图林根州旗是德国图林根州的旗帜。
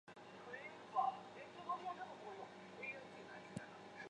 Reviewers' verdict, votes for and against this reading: rejected, 0, 2